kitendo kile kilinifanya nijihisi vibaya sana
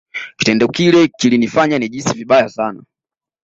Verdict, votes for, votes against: rejected, 1, 2